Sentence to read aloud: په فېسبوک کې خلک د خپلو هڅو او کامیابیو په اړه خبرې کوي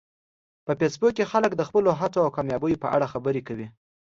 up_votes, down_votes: 2, 0